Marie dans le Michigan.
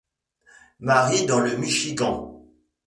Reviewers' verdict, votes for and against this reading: accepted, 2, 1